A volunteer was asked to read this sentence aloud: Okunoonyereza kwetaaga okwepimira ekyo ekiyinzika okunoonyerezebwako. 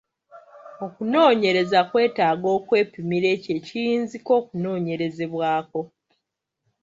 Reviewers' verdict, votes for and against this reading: accepted, 2, 0